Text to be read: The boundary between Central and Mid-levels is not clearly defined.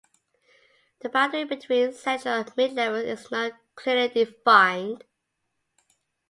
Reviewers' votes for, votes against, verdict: 2, 0, accepted